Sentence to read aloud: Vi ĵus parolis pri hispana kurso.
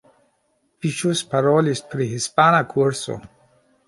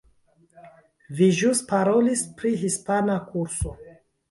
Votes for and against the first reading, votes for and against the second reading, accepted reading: 2, 0, 1, 2, first